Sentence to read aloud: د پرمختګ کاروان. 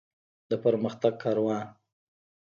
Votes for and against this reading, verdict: 1, 2, rejected